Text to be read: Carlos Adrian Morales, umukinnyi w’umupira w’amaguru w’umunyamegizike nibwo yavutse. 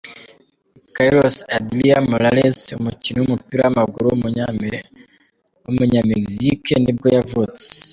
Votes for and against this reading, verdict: 1, 2, rejected